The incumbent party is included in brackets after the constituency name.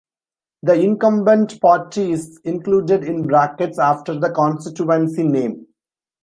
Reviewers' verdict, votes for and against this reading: accepted, 2, 0